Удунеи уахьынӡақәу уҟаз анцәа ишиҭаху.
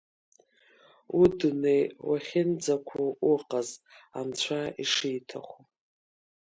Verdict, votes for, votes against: accepted, 2, 0